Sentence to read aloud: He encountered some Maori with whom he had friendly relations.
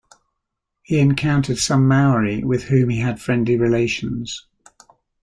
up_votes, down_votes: 2, 0